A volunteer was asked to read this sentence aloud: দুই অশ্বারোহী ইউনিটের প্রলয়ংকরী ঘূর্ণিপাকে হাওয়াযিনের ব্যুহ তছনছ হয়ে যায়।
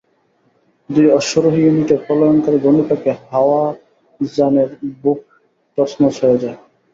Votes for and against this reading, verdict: 0, 2, rejected